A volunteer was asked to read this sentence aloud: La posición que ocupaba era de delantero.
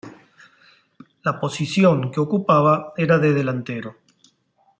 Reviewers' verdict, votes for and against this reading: accepted, 2, 0